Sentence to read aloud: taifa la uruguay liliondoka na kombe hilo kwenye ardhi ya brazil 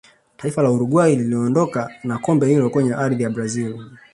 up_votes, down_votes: 2, 0